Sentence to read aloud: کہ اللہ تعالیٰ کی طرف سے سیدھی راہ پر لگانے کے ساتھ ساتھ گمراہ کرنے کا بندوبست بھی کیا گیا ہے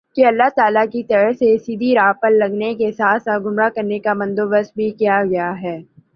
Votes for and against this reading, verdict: 3, 0, accepted